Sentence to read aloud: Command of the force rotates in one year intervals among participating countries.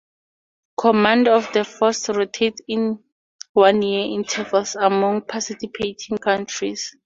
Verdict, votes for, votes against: accepted, 4, 0